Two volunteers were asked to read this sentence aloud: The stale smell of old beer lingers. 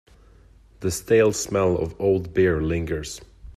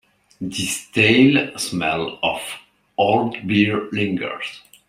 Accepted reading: first